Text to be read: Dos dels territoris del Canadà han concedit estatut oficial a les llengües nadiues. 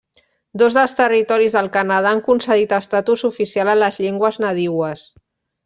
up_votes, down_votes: 0, 2